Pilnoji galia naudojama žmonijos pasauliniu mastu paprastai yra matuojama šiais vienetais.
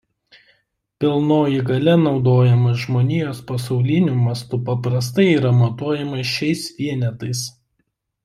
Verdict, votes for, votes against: accepted, 2, 0